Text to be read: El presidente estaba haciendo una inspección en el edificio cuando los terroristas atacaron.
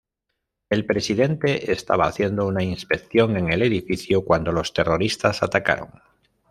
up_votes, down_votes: 2, 0